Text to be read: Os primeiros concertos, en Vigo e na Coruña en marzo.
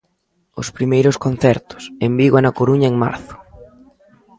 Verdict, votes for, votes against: accepted, 2, 0